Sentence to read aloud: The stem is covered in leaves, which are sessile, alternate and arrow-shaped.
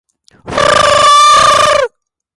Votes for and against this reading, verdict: 0, 2, rejected